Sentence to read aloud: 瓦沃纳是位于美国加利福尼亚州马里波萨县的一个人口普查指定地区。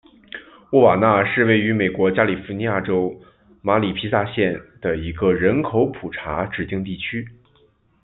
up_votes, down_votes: 1, 2